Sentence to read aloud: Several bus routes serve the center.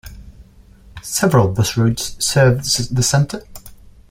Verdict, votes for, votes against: rejected, 1, 2